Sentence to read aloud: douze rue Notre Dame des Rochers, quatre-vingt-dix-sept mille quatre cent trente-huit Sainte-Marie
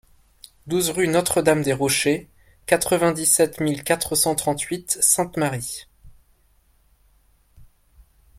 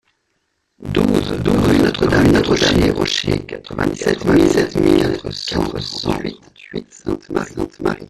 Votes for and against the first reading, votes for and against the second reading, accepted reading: 2, 0, 0, 2, first